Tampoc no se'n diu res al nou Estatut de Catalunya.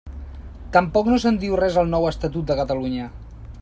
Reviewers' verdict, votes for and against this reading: accepted, 2, 0